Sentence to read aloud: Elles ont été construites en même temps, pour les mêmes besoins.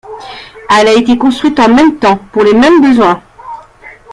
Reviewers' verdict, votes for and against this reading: rejected, 0, 2